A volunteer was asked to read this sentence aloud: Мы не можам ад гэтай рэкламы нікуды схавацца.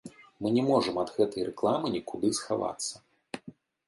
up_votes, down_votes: 2, 0